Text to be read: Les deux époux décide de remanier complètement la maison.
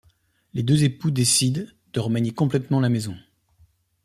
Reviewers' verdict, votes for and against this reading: accepted, 2, 0